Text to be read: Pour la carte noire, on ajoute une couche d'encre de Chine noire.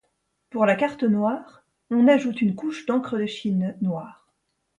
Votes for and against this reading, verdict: 2, 0, accepted